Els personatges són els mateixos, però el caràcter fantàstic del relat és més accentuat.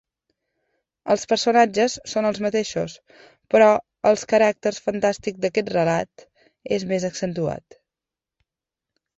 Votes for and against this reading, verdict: 1, 2, rejected